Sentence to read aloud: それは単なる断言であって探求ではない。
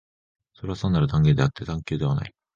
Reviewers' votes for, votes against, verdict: 1, 2, rejected